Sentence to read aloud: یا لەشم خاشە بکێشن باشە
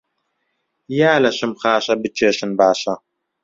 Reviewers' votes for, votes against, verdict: 2, 0, accepted